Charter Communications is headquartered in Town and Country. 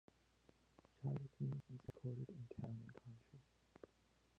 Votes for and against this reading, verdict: 0, 2, rejected